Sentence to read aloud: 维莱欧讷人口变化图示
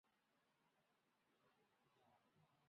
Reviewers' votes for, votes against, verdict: 0, 3, rejected